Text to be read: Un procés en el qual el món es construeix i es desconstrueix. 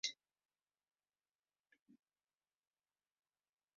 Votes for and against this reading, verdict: 0, 2, rejected